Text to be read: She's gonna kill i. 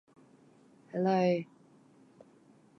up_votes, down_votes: 0, 2